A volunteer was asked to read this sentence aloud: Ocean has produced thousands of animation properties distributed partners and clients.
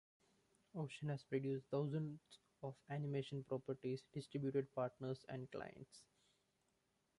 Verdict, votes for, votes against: accepted, 2, 0